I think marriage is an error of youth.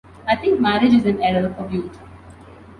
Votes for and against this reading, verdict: 2, 0, accepted